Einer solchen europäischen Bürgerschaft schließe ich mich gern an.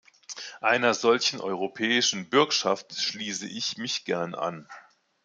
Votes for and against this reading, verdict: 0, 2, rejected